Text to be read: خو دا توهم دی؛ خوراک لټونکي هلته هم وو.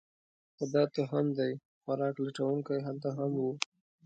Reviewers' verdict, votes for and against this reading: rejected, 1, 2